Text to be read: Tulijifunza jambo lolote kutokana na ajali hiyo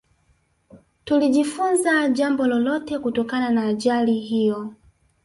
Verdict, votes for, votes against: rejected, 1, 2